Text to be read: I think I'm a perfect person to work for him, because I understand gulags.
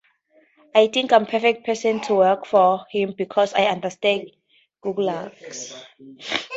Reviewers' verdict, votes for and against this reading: accepted, 2, 0